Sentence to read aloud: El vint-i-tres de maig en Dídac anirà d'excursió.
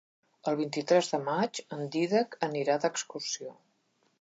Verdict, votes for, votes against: accepted, 3, 0